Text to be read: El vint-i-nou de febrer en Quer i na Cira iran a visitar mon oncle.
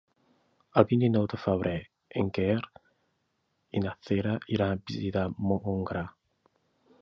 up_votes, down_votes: 0, 2